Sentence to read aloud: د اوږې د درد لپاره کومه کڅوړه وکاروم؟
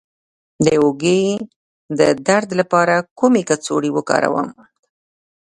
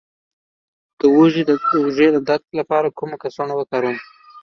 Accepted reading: first